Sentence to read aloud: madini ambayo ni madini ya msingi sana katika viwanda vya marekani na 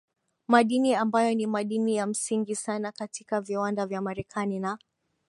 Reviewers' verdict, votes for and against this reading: rejected, 0, 4